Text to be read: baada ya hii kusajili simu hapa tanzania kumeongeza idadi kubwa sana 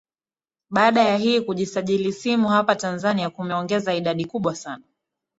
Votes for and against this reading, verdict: 1, 2, rejected